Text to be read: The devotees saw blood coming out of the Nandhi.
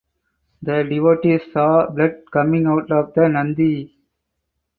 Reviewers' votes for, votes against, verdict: 4, 0, accepted